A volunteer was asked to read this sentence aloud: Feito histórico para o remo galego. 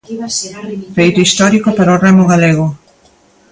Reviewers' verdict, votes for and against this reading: rejected, 0, 2